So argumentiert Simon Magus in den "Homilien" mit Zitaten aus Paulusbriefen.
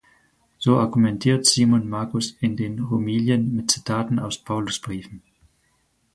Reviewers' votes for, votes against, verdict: 4, 0, accepted